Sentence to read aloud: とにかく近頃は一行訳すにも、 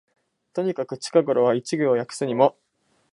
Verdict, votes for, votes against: accepted, 5, 0